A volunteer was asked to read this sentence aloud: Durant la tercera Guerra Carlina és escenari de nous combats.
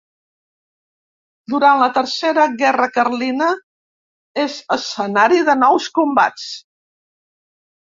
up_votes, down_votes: 2, 0